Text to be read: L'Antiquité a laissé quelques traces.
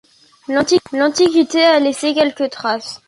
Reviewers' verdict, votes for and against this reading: rejected, 0, 2